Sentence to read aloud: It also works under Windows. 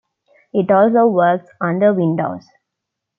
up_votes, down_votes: 2, 0